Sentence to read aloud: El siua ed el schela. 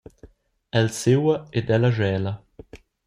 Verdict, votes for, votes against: rejected, 0, 2